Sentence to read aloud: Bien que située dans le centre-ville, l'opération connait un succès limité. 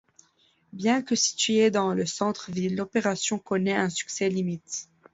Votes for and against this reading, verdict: 0, 2, rejected